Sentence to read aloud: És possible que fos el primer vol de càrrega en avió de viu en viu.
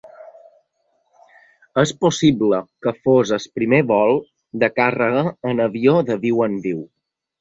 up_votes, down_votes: 0, 2